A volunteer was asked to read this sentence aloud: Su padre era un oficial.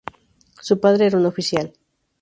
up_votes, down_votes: 0, 2